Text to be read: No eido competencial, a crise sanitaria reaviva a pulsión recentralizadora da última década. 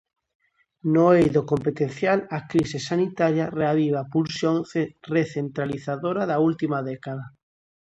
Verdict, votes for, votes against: rejected, 0, 2